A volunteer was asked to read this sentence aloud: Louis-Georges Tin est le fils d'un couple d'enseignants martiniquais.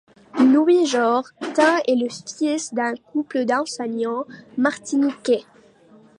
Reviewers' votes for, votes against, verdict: 0, 2, rejected